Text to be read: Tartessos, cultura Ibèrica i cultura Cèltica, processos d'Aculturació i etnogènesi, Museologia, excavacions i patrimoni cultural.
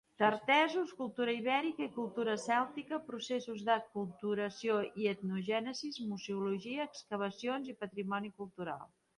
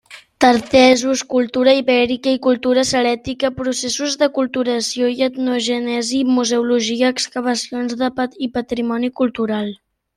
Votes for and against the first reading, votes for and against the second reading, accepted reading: 2, 1, 0, 2, first